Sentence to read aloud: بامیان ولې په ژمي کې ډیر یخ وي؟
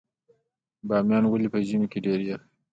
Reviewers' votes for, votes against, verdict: 2, 0, accepted